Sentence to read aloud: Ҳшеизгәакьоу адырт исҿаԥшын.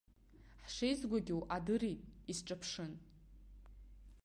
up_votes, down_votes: 1, 2